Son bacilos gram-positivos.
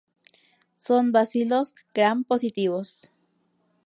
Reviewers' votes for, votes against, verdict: 2, 0, accepted